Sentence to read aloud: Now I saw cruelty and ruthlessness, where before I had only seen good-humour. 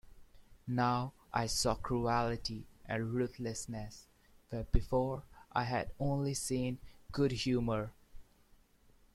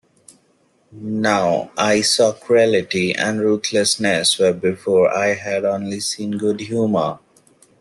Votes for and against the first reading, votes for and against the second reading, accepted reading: 0, 2, 2, 1, second